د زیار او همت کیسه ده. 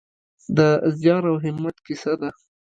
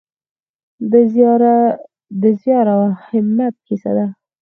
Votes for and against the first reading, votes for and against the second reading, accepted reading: 3, 0, 2, 4, first